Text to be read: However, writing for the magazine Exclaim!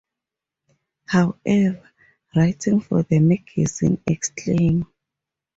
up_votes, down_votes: 0, 2